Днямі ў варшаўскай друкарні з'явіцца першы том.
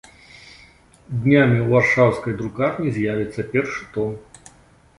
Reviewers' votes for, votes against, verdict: 2, 0, accepted